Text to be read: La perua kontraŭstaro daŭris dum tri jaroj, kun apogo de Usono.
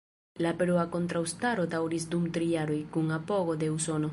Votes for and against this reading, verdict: 1, 2, rejected